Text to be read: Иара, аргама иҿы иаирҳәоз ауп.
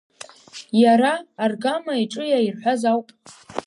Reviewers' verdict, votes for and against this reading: rejected, 1, 2